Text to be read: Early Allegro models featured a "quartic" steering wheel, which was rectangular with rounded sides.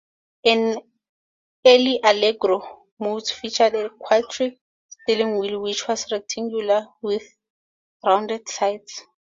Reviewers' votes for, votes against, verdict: 0, 2, rejected